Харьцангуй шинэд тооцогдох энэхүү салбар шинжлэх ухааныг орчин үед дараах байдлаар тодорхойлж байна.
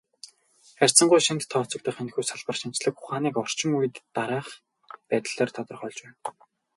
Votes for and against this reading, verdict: 2, 0, accepted